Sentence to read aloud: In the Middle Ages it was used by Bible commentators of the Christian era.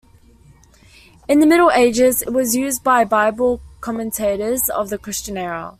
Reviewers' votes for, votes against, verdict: 2, 0, accepted